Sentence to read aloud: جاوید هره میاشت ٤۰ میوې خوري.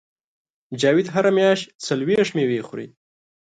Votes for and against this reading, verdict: 0, 2, rejected